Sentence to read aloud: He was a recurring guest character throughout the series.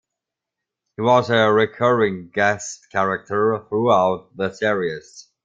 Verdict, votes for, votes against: accepted, 3, 0